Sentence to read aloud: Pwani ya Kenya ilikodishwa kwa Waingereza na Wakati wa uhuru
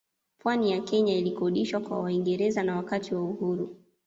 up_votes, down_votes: 2, 0